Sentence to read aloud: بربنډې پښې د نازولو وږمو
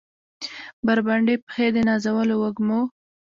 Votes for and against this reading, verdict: 2, 0, accepted